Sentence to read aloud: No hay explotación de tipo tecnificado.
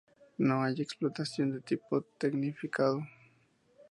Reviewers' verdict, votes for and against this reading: accepted, 2, 0